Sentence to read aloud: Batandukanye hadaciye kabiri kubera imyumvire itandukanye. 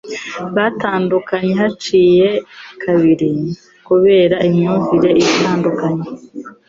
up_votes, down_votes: 1, 2